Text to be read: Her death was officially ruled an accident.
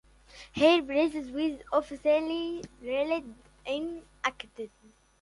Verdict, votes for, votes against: rejected, 1, 2